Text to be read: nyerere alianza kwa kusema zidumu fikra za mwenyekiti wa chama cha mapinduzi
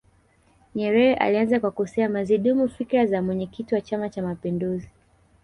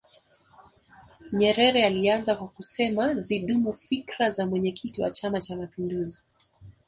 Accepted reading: second